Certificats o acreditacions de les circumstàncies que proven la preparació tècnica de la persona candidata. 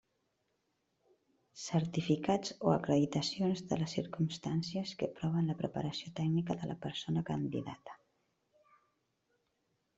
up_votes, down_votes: 2, 0